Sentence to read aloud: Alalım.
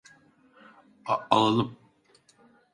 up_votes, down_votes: 0, 2